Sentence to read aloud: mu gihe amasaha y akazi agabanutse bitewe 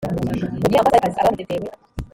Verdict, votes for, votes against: rejected, 1, 3